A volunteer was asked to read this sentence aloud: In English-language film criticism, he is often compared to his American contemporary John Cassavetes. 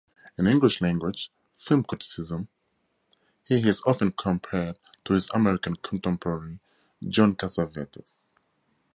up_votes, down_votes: 6, 0